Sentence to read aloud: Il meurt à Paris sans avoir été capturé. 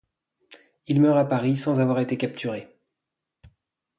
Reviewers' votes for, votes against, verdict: 2, 0, accepted